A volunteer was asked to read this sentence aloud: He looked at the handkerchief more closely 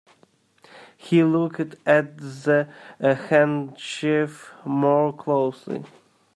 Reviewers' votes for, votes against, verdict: 1, 2, rejected